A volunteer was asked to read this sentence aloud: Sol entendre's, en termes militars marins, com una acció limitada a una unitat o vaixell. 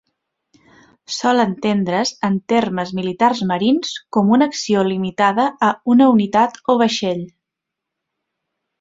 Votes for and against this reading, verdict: 3, 0, accepted